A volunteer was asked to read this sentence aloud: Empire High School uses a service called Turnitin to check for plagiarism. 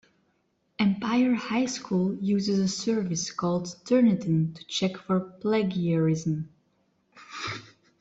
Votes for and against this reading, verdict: 1, 2, rejected